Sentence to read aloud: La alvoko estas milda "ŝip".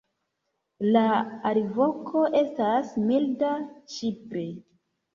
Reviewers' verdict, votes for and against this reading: accepted, 2, 0